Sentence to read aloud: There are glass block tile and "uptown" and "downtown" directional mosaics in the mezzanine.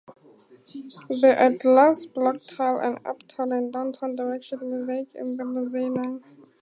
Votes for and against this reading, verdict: 2, 0, accepted